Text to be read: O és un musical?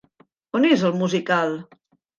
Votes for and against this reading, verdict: 0, 2, rejected